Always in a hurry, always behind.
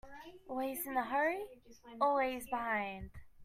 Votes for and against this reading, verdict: 2, 0, accepted